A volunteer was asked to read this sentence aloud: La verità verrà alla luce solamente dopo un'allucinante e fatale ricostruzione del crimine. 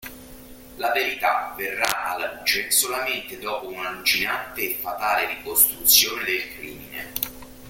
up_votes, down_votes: 0, 2